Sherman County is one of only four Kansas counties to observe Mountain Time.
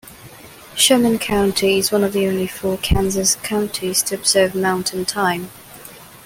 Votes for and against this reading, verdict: 2, 1, accepted